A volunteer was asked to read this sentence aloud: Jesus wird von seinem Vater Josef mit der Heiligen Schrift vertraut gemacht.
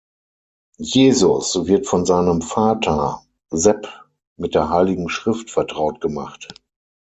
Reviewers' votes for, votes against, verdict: 0, 6, rejected